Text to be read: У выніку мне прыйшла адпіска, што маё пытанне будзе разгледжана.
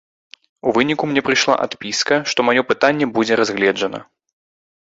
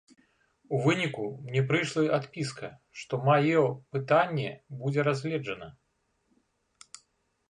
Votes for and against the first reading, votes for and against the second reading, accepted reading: 2, 0, 1, 2, first